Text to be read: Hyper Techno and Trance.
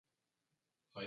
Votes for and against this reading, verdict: 0, 2, rejected